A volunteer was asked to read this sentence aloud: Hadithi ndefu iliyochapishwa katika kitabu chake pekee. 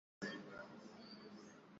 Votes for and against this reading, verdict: 0, 2, rejected